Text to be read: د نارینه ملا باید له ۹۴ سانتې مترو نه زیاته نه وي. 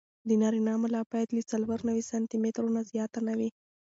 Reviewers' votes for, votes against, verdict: 0, 2, rejected